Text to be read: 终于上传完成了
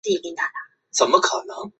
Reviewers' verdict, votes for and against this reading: rejected, 0, 2